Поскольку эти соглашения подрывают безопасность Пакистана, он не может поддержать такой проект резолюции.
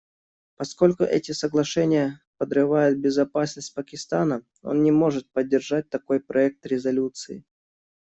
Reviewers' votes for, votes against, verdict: 2, 0, accepted